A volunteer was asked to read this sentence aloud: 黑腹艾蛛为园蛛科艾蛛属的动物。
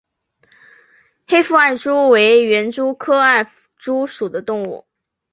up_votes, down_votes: 1, 2